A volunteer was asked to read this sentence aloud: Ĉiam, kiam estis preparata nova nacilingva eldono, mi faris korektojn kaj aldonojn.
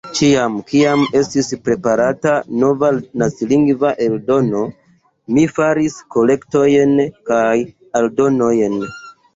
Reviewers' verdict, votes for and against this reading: accepted, 2, 0